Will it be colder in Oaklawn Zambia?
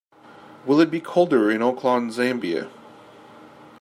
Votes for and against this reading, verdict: 2, 0, accepted